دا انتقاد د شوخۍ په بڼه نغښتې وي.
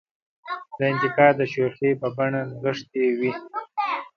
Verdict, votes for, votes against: accepted, 2, 0